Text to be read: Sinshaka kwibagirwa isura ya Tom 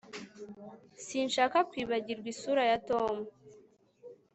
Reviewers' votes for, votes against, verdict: 2, 0, accepted